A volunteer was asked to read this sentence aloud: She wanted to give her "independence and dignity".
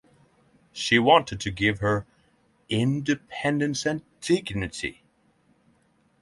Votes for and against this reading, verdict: 6, 0, accepted